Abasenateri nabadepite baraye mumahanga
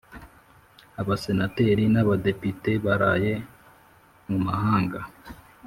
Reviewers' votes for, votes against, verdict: 2, 0, accepted